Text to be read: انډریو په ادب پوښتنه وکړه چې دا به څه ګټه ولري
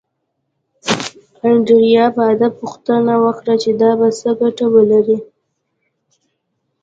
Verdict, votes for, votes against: rejected, 1, 2